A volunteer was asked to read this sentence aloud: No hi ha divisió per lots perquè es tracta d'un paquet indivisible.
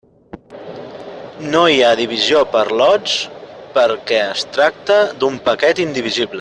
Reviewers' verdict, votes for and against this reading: rejected, 1, 2